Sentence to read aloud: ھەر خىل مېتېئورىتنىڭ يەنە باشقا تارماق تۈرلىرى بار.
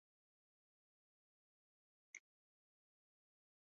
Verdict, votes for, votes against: rejected, 0, 2